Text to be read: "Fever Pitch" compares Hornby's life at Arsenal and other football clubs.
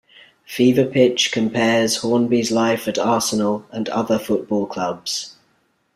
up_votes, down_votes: 2, 0